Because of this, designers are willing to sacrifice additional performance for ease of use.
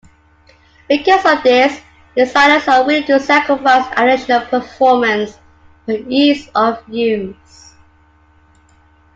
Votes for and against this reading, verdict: 0, 2, rejected